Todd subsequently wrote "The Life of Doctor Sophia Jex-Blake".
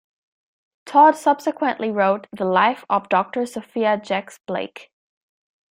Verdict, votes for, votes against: accepted, 2, 0